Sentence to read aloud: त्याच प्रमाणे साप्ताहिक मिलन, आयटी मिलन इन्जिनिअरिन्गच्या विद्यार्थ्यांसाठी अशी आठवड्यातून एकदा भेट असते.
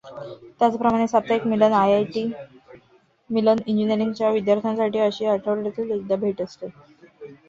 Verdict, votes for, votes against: rejected, 1, 2